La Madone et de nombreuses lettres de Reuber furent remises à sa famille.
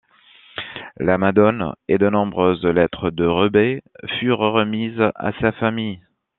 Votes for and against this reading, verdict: 2, 0, accepted